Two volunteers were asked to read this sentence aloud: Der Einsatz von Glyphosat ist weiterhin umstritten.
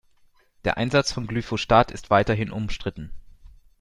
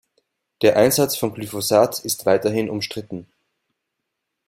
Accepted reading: second